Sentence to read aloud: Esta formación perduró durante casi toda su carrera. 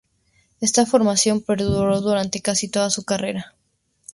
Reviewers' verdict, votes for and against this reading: accepted, 4, 0